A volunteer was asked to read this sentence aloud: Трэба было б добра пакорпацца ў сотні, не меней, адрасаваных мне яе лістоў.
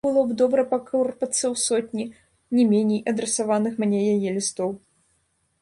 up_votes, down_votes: 0, 2